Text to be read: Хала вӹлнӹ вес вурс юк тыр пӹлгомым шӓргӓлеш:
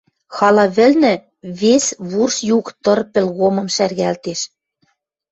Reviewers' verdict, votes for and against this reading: rejected, 1, 2